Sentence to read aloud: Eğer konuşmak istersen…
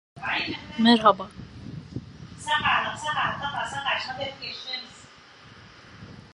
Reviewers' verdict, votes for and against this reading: rejected, 0, 2